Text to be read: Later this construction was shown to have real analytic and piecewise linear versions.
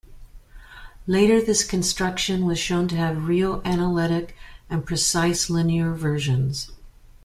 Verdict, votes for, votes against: rejected, 0, 2